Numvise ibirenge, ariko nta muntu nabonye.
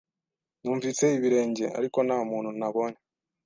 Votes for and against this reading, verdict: 2, 0, accepted